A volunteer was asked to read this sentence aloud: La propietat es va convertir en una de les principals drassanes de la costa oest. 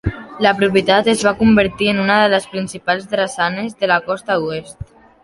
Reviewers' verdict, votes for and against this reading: accepted, 2, 1